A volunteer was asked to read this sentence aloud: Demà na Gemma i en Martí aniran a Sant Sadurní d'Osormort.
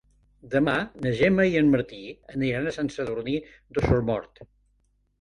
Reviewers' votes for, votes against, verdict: 2, 0, accepted